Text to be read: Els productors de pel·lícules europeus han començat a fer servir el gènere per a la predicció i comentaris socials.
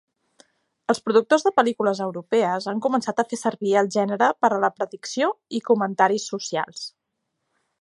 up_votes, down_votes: 0, 2